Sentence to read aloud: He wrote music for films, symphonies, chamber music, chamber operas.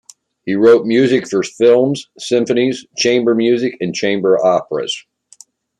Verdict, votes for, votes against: rejected, 1, 2